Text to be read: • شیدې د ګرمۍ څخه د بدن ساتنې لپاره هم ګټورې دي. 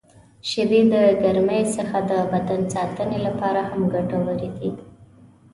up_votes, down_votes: 2, 0